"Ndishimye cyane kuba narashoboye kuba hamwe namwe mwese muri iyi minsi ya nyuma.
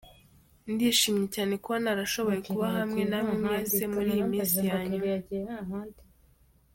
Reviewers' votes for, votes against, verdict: 2, 1, accepted